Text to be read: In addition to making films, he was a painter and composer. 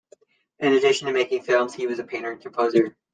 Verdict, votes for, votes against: accepted, 2, 0